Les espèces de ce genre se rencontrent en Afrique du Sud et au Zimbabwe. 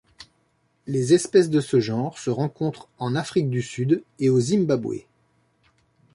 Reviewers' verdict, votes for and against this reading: accepted, 2, 0